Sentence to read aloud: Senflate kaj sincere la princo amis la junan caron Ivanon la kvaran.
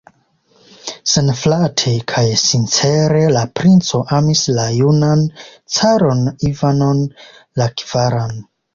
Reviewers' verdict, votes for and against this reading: accepted, 2, 0